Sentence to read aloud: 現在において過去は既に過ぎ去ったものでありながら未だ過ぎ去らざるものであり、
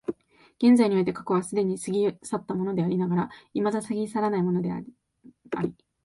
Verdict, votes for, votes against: rejected, 1, 3